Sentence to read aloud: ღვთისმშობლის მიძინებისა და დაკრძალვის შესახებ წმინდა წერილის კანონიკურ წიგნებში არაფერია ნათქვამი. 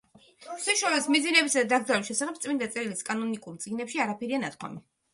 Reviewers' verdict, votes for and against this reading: accepted, 2, 1